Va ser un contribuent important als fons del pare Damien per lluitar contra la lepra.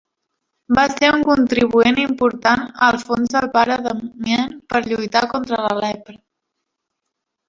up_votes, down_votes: 2, 1